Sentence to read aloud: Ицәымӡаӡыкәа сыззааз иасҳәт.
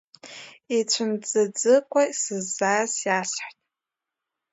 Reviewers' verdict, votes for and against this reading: rejected, 1, 2